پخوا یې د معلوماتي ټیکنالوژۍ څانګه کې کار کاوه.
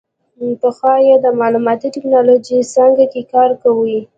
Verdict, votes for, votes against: accepted, 2, 0